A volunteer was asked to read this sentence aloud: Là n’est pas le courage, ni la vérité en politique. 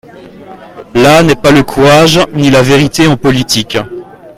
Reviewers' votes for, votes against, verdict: 1, 2, rejected